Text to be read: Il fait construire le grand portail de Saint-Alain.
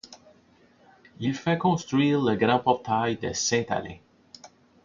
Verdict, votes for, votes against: accepted, 2, 0